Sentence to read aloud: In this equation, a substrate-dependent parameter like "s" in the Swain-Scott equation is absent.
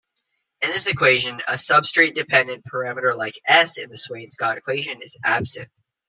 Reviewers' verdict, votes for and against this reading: rejected, 0, 2